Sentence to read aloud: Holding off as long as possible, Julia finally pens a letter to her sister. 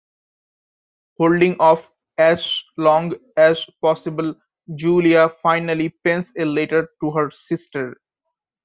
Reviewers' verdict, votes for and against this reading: accepted, 2, 1